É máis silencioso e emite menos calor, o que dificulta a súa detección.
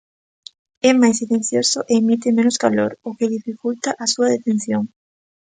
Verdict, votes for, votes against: rejected, 0, 2